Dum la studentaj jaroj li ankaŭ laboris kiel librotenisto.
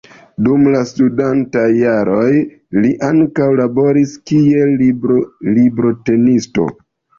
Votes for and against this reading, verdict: 1, 2, rejected